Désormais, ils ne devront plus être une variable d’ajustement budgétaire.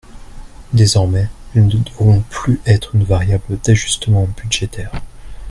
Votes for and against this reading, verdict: 1, 2, rejected